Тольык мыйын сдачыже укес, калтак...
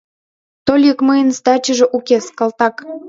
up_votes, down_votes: 1, 2